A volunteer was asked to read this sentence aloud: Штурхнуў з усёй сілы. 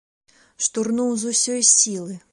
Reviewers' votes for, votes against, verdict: 0, 2, rejected